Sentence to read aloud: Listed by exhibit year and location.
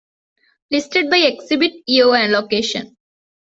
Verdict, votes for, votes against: accepted, 2, 0